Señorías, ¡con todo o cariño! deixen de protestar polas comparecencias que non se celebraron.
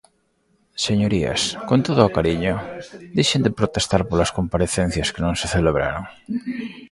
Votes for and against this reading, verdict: 0, 2, rejected